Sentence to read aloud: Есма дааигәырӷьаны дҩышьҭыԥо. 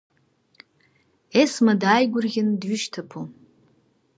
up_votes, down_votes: 4, 1